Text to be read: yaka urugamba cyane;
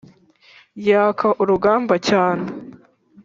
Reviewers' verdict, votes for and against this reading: accepted, 2, 0